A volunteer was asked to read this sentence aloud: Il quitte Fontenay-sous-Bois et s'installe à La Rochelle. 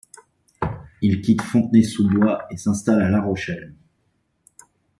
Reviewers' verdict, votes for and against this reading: accepted, 2, 0